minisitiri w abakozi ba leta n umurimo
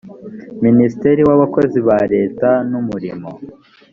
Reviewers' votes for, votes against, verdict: 1, 2, rejected